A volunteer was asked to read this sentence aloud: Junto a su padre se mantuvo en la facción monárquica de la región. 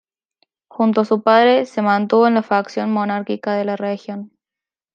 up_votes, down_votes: 2, 0